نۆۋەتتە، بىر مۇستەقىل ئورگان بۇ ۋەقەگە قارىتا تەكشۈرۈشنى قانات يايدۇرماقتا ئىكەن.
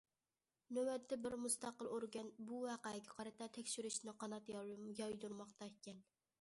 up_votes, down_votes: 0, 2